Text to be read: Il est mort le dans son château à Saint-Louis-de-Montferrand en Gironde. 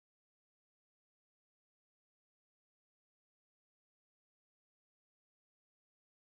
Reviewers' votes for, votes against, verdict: 0, 2, rejected